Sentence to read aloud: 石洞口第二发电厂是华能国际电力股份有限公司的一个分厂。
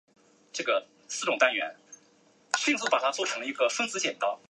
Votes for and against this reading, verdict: 1, 2, rejected